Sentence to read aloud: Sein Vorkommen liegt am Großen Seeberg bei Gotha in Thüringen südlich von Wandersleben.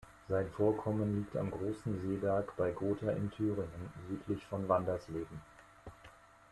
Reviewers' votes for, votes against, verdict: 0, 2, rejected